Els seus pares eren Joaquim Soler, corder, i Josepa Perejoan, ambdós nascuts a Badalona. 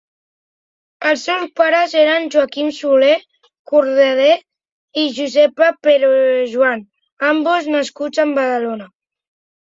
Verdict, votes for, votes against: rejected, 0, 2